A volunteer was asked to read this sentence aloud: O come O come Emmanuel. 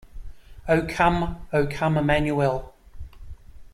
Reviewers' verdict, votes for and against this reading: accepted, 2, 0